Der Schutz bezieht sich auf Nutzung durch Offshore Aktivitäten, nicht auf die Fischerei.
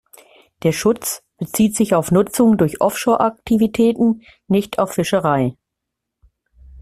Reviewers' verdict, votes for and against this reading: rejected, 1, 2